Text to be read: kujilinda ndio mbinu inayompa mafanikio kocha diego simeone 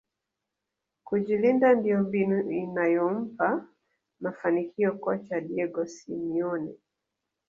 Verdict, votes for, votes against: rejected, 0, 2